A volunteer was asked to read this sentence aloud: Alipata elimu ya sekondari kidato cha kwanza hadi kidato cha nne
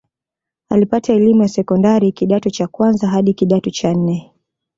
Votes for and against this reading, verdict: 2, 0, accepted